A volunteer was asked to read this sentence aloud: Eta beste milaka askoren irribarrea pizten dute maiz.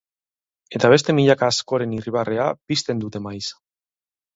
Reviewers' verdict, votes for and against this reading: accepted, 2, 0